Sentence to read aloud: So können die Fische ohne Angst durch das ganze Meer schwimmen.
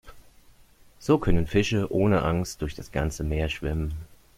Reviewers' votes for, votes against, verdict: 1, 2, rejected